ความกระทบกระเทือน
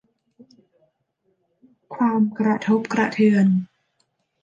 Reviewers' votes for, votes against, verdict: 2, 0, accepted